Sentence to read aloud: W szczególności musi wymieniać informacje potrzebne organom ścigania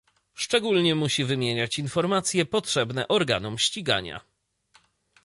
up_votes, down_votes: 1, 2